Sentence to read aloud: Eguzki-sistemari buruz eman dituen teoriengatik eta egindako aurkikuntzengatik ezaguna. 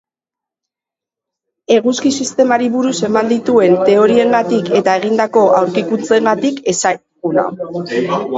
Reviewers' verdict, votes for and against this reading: rejected, 1, 11